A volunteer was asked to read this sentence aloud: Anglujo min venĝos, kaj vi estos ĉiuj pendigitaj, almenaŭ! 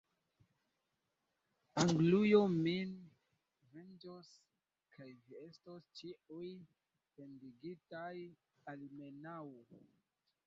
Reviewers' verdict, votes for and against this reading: rejected, 0, 2